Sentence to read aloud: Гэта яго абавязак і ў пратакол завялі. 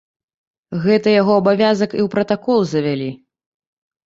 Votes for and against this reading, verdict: 2, 0, accepted